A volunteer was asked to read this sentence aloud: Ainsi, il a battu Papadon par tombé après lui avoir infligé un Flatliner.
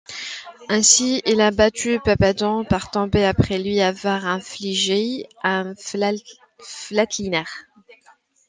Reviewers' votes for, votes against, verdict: 0, 2, rejected